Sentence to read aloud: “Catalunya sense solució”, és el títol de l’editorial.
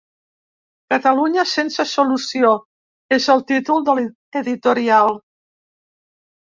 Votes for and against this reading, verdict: 0, 2, rejected